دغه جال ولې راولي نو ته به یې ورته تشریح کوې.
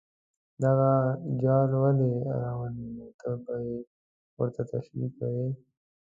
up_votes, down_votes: 0, 2